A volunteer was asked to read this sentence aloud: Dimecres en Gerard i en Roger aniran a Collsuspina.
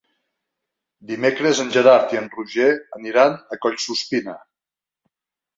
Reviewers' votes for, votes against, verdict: 3, 0, accepted